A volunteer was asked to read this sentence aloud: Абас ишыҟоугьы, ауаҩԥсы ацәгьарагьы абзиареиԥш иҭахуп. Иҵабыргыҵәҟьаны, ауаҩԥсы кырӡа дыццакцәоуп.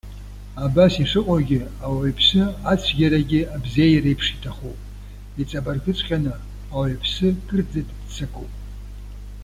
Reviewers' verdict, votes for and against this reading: rejected, 0, 2